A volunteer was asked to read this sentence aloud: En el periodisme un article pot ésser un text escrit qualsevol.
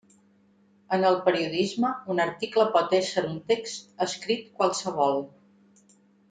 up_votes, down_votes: 3, 0